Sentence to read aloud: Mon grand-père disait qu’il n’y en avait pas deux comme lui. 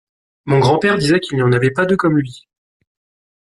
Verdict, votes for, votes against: accepted, 2, 0